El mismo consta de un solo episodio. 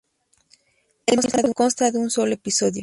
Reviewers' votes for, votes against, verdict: 0, 2, rejected